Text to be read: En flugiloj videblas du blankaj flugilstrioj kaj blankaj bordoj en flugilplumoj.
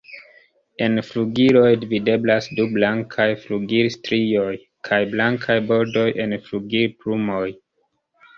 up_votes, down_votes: 1, 2